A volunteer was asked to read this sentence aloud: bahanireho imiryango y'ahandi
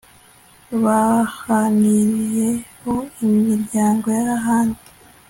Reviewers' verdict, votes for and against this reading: accepted, 2, 0